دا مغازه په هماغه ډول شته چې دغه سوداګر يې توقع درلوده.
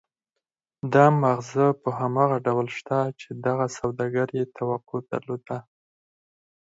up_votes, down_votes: 2, 4